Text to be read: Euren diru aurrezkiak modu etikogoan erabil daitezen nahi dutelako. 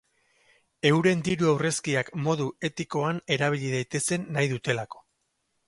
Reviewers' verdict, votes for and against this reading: rejected, 0, 4